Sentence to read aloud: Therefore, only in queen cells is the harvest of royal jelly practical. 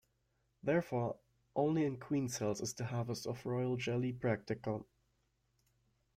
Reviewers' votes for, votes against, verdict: 1, 2, rejected